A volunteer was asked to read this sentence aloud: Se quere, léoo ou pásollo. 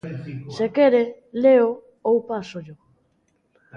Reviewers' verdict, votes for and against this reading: rejected, 0, 2